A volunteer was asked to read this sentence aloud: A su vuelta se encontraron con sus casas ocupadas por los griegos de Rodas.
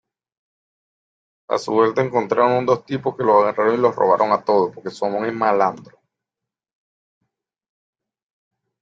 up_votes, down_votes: 0, 2